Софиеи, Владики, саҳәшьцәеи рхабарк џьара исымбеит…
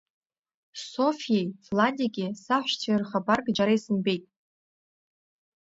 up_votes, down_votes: 1, 2